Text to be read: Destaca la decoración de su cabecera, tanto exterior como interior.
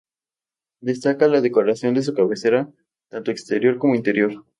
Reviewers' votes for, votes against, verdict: 2, 0, accepted